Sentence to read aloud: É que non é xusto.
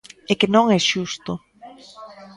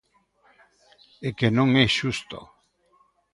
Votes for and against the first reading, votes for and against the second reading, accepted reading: 0, 2, 2, 0, second